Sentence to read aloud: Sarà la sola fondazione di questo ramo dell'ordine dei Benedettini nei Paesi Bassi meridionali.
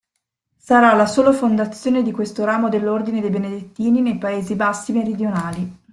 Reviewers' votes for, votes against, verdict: 2, 0, accepted